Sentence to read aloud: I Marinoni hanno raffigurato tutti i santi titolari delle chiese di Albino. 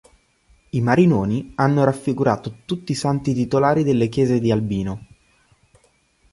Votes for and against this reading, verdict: 3, 0, accepted